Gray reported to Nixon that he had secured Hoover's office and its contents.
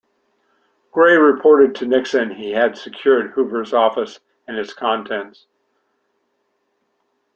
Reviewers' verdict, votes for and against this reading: rejected, 1, 2